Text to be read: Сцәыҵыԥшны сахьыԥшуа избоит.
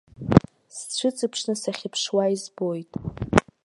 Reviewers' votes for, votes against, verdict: 1, 2, rejected